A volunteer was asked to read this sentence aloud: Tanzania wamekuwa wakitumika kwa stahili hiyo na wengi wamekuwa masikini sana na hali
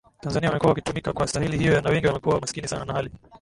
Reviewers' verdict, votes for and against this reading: rejected, 0, 2